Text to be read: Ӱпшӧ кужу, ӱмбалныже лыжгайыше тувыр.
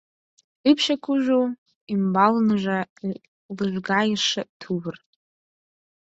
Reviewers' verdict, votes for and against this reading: accepted, 4, 2